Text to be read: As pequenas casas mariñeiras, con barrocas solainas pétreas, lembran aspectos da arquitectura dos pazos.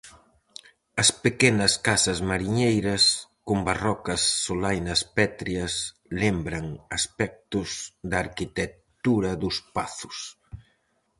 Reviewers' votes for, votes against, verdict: 4, 0, accepted